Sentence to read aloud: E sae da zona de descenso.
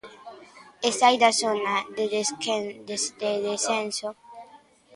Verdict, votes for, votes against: rejected, 0, 2